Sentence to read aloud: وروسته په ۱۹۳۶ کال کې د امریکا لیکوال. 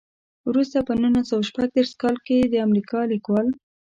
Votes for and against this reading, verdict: 0, 2, rejected